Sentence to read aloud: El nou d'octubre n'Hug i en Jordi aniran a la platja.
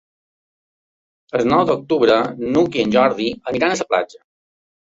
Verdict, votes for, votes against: rejected, 0, 2